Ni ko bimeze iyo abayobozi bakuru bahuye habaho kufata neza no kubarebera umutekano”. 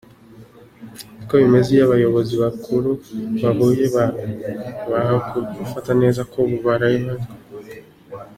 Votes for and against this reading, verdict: 0, 2, rejected